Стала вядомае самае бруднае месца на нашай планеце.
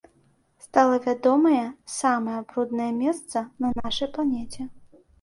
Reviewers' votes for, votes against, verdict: 2, 0, accepted